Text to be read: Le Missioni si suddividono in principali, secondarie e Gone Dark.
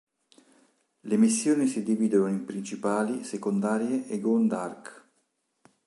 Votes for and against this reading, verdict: 2, 3, rejected